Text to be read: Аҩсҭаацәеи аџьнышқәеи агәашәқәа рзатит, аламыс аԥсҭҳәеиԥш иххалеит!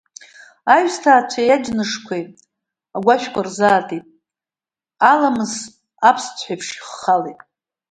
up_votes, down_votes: 0, 2